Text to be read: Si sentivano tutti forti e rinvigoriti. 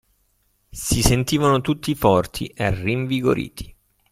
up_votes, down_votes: 2, 0